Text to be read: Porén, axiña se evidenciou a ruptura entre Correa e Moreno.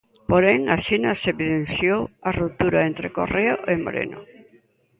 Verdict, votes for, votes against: rejected, 1, 2